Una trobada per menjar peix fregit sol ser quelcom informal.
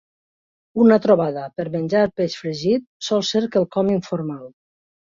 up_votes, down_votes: 2, 0